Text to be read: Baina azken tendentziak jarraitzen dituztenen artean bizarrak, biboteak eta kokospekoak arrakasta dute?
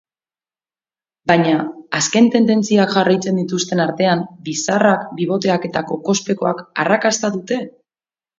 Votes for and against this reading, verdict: 0, 2, rejected